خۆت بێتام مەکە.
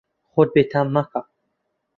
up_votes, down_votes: 2, 0